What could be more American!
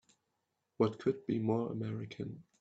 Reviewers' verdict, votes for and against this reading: accepted, 3, 2